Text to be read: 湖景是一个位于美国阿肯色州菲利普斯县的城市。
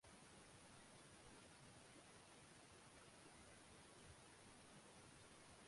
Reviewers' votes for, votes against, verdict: 0, 5, rejected